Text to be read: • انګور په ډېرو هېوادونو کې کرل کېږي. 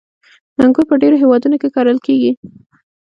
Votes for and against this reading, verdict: 2, 0, accepted